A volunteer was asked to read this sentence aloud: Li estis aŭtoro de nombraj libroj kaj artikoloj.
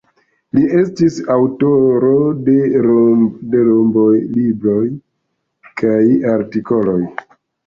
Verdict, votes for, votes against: rejected, 1, 2